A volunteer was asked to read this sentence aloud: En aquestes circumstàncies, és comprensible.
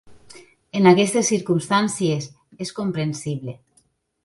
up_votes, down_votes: 3, 0